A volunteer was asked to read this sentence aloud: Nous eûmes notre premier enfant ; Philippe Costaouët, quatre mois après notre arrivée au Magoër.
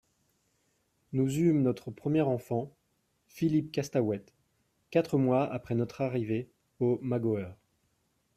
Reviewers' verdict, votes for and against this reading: accepted, 2, 0